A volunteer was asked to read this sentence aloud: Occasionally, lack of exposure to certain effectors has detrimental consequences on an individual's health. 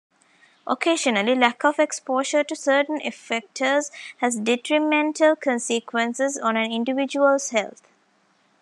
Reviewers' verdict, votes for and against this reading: accepted, 2, 0